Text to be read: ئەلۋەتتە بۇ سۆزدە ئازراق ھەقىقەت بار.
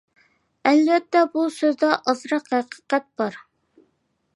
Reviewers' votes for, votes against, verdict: 2, 0, accepted